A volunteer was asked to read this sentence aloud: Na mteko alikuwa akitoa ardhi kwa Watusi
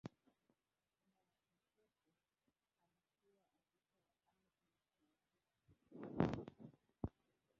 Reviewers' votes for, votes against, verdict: 0, 2, rejected